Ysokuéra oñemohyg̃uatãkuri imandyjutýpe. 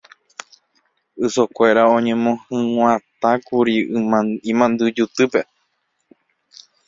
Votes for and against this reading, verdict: 0, 2, rejected